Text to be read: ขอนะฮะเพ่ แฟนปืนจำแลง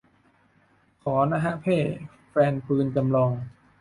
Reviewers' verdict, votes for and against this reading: rejected, 1, 2